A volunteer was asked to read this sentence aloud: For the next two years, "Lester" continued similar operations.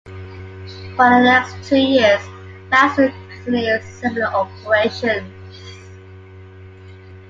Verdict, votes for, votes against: accepted, 2, 0